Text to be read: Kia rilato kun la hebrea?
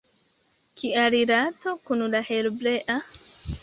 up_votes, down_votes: 0, 2